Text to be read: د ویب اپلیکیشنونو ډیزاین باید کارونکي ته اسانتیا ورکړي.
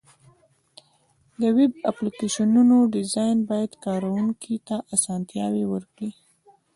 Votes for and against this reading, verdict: 1, 2, rejected